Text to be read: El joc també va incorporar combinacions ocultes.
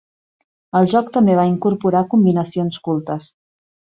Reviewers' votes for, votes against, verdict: 0, 2, rejected